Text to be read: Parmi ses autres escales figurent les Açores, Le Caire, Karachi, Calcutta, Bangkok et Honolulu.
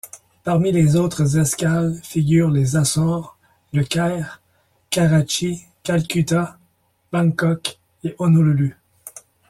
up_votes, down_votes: 0, 2